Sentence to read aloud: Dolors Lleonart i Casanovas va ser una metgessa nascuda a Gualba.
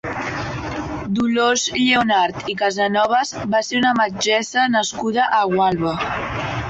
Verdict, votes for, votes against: rejected, 0, 2